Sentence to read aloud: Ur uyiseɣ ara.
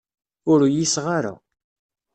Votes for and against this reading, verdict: 2, 0, accepted